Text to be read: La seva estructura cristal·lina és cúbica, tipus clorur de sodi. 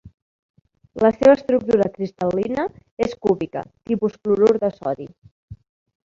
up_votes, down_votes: 3, 1